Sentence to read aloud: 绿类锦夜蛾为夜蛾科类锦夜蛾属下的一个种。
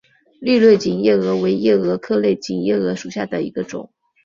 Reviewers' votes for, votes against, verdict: 5, 1, accepted